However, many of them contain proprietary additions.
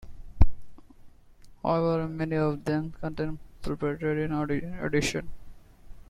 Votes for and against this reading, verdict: 1, 2, rejected